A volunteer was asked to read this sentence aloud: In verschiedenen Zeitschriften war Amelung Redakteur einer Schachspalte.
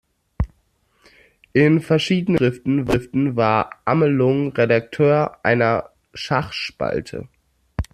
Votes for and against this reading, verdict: 0, 2, rejected